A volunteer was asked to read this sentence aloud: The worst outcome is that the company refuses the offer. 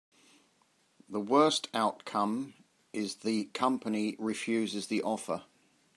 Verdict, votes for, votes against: rejected, 0, 2